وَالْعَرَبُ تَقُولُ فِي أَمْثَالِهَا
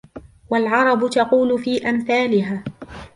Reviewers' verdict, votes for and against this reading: accepted, 2, 1